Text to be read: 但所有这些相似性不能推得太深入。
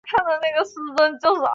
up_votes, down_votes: 0, 2